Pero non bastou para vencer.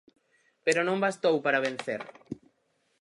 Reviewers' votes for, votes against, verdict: 4, 0, accepted